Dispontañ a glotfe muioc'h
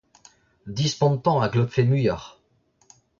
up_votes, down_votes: 0, 2